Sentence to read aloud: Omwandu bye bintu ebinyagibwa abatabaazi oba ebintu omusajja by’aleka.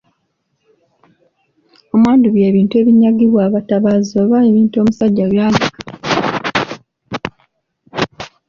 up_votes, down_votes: 0, 2